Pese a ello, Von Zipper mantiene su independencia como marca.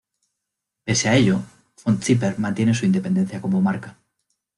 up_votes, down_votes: 2, 1